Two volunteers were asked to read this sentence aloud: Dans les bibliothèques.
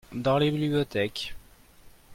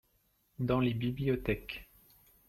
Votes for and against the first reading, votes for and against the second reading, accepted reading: 1, 2, 2, 0, second